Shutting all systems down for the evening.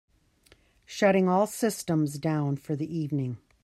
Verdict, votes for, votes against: accepted, 2, 1